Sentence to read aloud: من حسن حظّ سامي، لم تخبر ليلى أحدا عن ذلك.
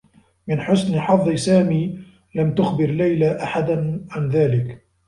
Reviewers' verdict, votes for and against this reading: accepted, 2, 0